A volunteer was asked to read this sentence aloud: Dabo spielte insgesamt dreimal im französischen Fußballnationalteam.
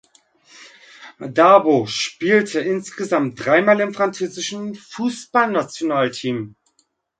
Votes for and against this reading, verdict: 3, 0, accepted